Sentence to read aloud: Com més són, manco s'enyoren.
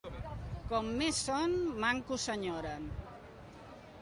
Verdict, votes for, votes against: accepted, 2, 0